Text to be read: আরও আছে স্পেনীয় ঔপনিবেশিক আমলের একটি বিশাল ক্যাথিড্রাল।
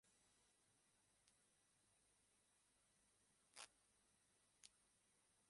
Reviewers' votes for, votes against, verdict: 0, 4, rejected